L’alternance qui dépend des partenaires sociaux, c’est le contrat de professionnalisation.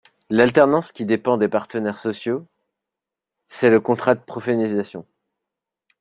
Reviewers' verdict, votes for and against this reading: rejected, 0, 2